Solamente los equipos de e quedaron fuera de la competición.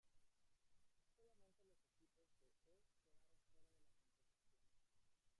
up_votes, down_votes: 0, 2